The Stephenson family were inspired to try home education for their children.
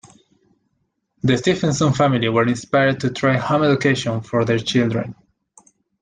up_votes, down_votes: 0, 2